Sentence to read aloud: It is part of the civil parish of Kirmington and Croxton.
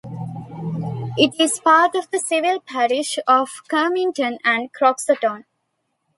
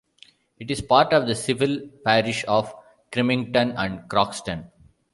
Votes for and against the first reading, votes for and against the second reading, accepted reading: 2, 0, 1, 2, first